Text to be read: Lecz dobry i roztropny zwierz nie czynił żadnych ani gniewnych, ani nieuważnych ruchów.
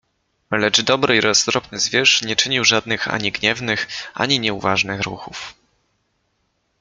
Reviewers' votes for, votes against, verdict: 2, 0, accepted